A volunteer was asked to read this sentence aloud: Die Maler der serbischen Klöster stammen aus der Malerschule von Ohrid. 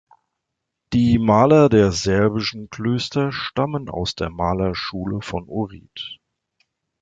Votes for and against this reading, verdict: 2, 0, accepted